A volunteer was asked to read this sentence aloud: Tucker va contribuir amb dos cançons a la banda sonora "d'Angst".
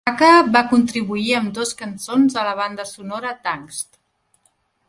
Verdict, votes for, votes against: rejected, 0, 2